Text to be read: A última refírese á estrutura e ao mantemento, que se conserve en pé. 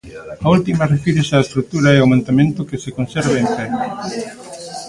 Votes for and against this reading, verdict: 2, 0, accepted